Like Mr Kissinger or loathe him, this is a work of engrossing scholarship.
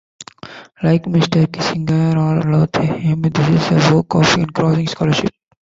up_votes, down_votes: 1, 2